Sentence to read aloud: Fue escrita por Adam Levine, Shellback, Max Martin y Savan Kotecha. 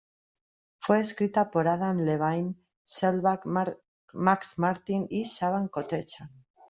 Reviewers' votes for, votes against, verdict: 0, 2, rejected